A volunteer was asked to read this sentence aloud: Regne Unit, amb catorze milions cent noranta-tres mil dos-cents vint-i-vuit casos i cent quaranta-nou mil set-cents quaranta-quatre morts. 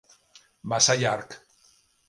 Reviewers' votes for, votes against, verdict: 1, 2, rejected